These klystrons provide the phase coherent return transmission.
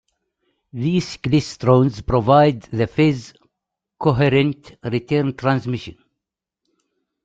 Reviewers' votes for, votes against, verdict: 2, 0, accepted